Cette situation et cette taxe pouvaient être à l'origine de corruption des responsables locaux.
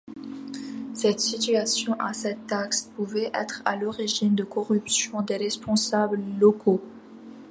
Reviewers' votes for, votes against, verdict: 2, 0, accepted